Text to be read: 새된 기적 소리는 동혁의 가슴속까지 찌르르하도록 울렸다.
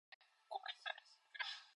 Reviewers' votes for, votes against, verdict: 0, 2, rejected